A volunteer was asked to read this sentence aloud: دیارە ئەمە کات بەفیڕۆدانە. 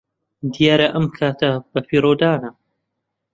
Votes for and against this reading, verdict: 0, 2, rejected